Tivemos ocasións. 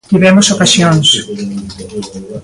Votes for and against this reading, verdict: 2, 0, accepted